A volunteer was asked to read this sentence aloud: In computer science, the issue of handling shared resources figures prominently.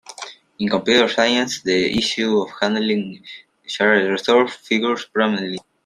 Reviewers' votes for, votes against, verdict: 1, 2, rejected